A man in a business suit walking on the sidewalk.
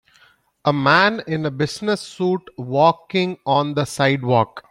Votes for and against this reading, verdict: 2, 0, accepted